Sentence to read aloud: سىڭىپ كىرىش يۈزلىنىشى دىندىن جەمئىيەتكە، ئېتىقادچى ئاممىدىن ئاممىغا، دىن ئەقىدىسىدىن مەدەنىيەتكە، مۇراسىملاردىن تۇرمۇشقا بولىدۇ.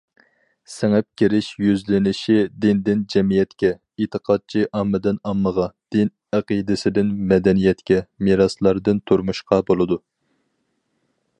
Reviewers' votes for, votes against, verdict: 2, 4, rejected